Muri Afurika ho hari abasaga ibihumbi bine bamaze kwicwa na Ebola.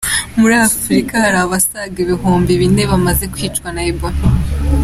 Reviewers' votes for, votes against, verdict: 2, 1, accepted